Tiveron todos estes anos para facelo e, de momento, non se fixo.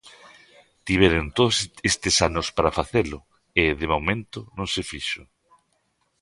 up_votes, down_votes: 1, 2